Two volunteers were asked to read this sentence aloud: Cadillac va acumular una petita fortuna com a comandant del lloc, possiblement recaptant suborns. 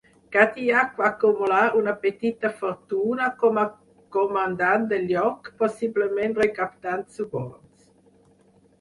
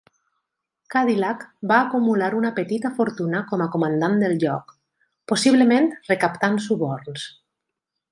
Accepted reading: second